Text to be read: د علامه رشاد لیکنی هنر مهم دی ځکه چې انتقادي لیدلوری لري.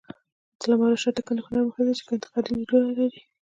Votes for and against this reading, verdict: 0, 2, rejected